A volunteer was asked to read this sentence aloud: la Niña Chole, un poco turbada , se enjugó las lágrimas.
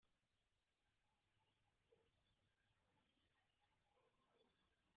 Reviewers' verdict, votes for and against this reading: rejected, 0, 2